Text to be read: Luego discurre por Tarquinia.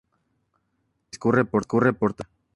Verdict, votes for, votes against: rejected, 0, 2